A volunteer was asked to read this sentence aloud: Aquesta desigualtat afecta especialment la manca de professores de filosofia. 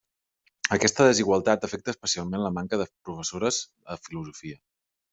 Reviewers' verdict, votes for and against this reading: rejected, 1, 2